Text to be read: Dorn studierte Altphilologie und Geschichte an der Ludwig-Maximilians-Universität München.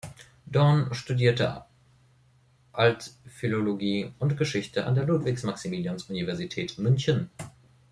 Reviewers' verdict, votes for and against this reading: rejected, 1, 2